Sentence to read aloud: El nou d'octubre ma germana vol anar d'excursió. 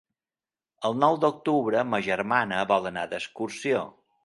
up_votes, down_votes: 3, 0